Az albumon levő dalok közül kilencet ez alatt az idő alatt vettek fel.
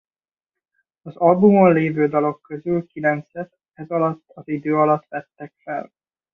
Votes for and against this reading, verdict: 1, 2, rejected